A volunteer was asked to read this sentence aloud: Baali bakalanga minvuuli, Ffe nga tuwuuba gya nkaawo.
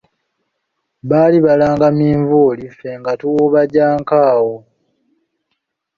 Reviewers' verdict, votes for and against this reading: rejected, 0, 2